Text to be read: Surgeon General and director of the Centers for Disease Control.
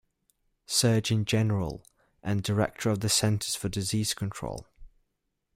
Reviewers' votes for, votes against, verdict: 2, 0, accepted